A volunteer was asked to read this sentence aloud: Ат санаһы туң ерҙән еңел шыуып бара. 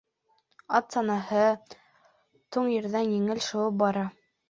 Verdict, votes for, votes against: rejected, 0, 2